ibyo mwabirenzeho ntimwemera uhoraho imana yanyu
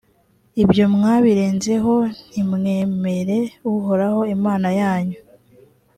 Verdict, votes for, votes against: rejected, 0, 2